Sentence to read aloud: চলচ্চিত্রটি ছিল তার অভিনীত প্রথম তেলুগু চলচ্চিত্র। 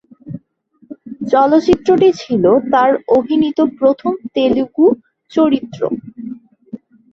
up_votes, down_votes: 0, 2